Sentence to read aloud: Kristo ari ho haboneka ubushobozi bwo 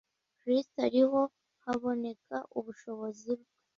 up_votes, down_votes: 2, 1